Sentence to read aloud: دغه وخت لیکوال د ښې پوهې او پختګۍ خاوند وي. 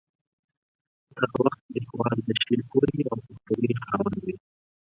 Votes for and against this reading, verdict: 2, 4, rejected